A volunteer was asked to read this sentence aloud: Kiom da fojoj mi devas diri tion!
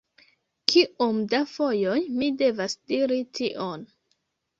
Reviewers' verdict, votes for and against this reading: accepted, 2, 0